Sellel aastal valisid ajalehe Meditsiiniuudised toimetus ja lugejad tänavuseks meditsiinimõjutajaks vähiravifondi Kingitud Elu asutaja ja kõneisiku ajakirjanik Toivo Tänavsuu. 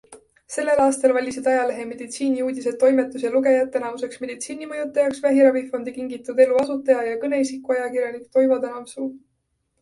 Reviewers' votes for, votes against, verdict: 2, 1, accepted